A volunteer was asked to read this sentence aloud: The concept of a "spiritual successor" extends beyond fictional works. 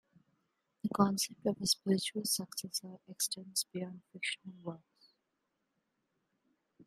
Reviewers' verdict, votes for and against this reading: accepted, 2, 0